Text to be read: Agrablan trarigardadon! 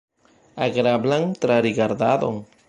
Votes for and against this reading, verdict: 1, 2, rejected